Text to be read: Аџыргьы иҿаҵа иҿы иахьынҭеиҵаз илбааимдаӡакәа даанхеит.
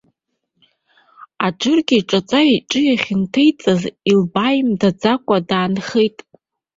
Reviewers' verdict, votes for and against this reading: accepted, 2, 0